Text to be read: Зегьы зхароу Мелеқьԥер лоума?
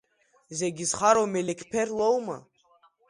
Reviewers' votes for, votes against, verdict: 2, 0, accepted